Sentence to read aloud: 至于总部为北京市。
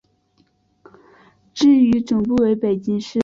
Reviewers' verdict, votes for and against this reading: accepted, 3, 1